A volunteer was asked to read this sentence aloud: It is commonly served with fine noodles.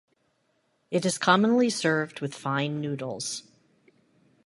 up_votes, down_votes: 2, 0